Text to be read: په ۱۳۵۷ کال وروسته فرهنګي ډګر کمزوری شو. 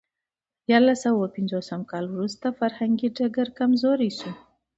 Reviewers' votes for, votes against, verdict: 0, 2, rejected